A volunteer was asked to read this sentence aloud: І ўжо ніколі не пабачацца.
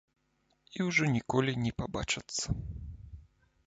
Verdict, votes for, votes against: accepted, 2, 0